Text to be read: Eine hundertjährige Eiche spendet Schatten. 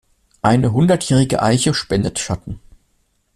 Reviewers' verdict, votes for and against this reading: accepted, 2, 0